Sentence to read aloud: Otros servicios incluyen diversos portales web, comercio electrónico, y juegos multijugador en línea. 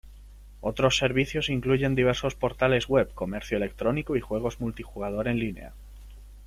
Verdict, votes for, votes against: accepted, 2, 0